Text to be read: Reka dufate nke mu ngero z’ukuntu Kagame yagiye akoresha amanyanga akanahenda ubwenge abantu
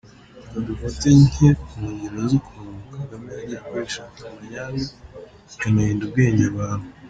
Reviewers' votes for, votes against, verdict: 1, 2, rejected